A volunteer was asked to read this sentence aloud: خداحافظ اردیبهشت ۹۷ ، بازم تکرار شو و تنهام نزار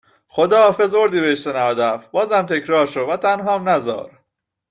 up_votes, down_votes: 0, 2